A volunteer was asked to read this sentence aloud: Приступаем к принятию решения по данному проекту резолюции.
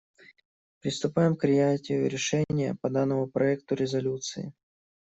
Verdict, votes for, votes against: rejected, 1, 2